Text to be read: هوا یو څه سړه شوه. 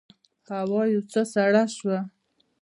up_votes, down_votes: 0, 2